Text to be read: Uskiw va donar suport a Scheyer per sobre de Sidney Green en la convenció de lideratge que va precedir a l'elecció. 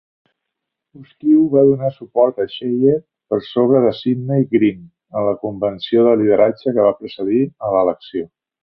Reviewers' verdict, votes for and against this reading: rejected, 1, 2